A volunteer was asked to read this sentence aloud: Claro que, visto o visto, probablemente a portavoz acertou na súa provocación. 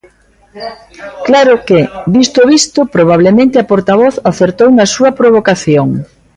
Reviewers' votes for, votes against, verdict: 2, 0, accepted